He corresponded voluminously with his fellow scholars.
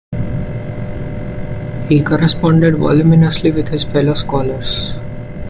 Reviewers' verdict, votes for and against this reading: rejected, 0, 2